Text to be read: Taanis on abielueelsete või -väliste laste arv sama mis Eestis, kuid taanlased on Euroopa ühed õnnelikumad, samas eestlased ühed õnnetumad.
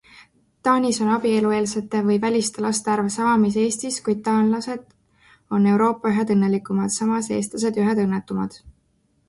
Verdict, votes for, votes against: accepted, 2, 0